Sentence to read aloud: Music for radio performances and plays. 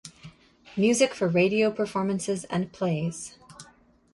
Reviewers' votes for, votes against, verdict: 2, 0, accepted